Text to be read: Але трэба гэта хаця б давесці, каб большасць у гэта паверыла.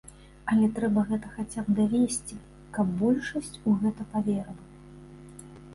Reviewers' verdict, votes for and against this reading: accepted, 2, 0